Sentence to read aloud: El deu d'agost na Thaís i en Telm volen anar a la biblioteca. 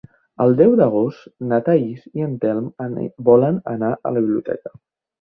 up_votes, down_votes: 1, 2